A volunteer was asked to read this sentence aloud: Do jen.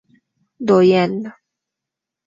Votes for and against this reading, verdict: 2, 0, accepted